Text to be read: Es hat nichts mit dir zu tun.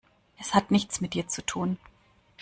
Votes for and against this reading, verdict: 2, 0, accepted